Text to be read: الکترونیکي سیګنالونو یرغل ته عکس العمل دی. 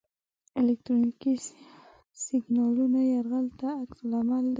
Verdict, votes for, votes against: rejected, 1, 2